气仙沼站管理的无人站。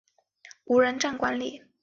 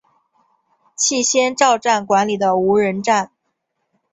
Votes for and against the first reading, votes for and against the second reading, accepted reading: 0, 4, 3, 1, second